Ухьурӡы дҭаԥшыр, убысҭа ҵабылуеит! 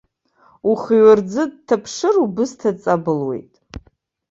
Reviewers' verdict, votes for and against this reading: rejected, 1, 2